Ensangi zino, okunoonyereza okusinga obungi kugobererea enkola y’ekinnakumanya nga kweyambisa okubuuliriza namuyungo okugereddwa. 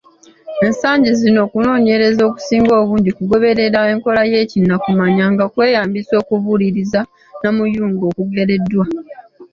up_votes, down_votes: 2, 0